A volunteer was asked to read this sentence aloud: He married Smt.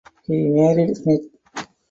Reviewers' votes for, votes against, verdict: 2, 8, rejected